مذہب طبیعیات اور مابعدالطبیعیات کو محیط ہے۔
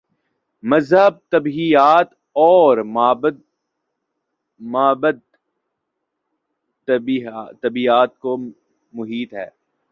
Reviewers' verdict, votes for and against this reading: rejected, 1, 2